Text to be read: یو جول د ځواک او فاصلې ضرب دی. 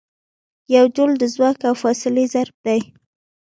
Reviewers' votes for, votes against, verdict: 3, 0, accepted